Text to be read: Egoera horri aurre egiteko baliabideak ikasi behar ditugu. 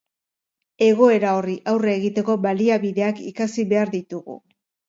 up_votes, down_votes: 2, 0